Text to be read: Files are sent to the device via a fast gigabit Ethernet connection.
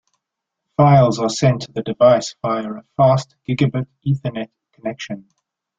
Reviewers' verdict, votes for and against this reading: accepted, 2, 1